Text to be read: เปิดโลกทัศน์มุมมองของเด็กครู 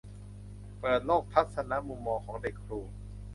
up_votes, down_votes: 0, 2